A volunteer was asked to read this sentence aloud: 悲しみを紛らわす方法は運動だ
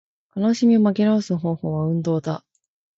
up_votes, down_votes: 1, 2